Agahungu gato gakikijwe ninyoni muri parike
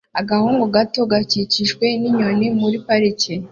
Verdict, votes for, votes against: accepted, 2, 0